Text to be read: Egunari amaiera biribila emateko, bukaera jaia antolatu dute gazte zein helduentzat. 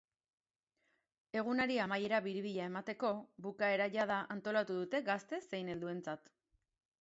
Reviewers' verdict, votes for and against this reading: rejected, 0, 2